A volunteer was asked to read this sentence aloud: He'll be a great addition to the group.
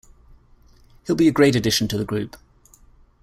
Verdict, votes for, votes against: accepted, 2, 1